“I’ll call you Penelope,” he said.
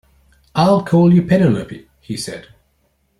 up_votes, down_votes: 1, 2